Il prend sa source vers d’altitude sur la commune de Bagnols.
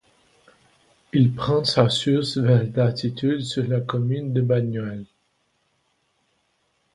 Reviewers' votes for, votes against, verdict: 2, 0, accepted